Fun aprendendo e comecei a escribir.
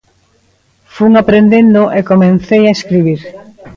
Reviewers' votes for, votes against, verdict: 0, 2, rejected